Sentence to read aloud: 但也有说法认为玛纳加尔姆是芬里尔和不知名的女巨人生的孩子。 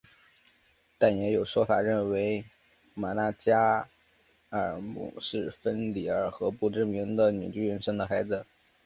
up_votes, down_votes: 2, 1